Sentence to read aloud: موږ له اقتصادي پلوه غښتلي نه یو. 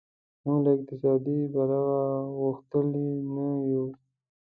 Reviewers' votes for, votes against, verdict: 1, 2, rejected